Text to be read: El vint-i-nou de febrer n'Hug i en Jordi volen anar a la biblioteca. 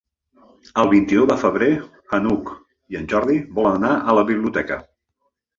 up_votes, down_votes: 1, 2